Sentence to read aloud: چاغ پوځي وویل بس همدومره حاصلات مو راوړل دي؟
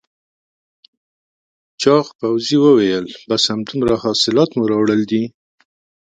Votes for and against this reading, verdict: 3, 0, accepted